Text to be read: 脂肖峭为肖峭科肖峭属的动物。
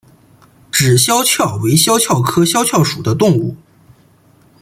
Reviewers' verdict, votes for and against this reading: accepted, 2, 0